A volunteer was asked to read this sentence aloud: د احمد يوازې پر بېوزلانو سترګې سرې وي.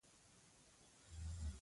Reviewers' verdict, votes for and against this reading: rejected, 1, 2